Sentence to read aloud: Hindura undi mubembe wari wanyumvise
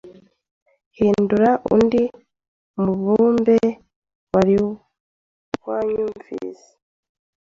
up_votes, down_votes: 1, 2